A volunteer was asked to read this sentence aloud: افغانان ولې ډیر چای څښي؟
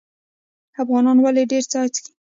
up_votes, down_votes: 2, 0